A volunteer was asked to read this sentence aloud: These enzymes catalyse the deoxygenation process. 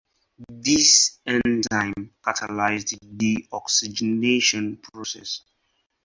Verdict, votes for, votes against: rejected, 0, 4